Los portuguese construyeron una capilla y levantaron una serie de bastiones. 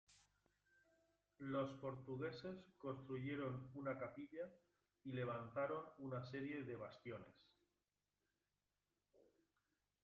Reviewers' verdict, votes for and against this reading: rejected, 1, 2